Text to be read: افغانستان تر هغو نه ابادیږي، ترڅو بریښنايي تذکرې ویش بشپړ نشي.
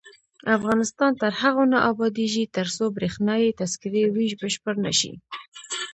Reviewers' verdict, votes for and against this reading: rejected, 1, 2